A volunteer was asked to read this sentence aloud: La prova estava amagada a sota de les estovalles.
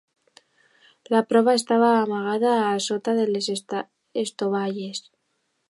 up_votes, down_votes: 2, 0